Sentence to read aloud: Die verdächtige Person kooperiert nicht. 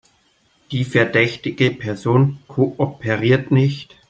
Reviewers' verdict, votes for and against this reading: accepted, 2, 0